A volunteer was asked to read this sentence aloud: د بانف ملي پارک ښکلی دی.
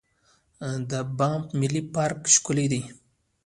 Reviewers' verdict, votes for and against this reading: accepted, 2, 1